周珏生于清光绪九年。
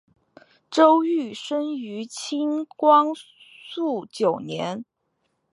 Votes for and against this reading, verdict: 0, 3, rejected